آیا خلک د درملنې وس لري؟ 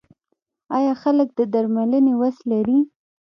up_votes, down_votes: 1, 2